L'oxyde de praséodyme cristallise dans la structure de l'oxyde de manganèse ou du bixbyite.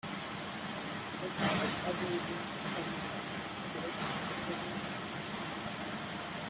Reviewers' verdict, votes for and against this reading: rejected, 0, 2